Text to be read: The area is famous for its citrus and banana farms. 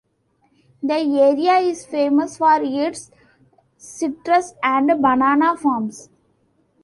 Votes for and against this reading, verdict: 1, 2, rejected